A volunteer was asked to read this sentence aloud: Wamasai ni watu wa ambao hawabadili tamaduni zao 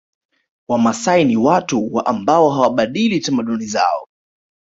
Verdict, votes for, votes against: accepted, 3, 0